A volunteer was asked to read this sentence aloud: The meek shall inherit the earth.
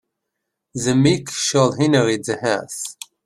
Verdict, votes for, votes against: rejected, 0, 2